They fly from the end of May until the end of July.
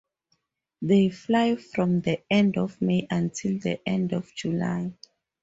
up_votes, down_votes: 2, 0